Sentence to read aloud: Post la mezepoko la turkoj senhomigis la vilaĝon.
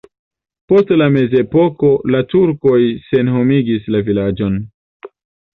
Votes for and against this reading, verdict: 2, 0, accepted